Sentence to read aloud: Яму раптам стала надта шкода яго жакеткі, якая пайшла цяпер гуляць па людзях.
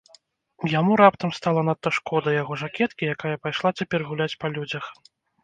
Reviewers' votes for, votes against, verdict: 1, 2, rejected